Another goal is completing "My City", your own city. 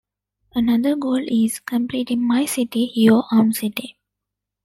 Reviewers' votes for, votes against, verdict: 2, 0, accepted